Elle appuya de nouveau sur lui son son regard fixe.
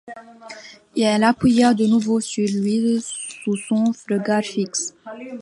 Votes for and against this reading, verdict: 1, 2, rejected